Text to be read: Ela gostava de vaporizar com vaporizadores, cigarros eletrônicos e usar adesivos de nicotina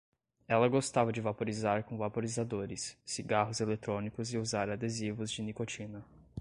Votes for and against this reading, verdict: 2, 0, accepted